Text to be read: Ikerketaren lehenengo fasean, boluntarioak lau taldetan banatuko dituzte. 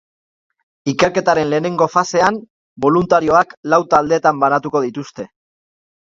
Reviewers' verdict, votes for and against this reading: accepted, 2, 0